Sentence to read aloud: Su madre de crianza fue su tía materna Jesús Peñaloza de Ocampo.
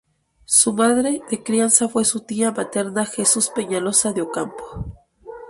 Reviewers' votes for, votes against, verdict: 2, 0, accepted